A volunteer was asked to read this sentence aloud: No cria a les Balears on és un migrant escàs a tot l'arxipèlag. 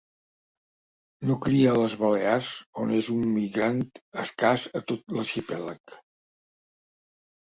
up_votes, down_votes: 2, 0